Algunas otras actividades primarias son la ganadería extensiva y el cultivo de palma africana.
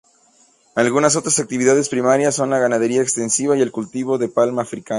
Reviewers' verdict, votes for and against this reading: accepted, 2, 0